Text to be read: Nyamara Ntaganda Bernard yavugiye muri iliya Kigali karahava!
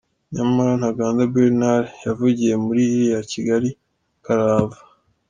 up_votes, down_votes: 2, 0